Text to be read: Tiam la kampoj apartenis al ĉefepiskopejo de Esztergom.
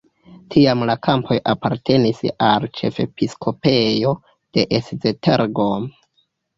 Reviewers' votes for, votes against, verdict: 1, 2, rejected